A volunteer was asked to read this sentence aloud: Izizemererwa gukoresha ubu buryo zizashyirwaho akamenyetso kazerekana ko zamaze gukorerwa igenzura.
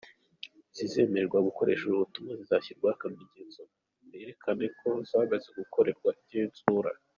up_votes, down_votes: 2, 1